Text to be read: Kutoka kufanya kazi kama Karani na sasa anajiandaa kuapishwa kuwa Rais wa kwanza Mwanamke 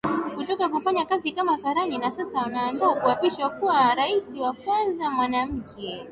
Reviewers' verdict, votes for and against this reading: accepted, 3, 0